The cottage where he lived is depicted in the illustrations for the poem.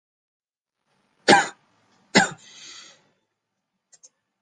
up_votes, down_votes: 0, 2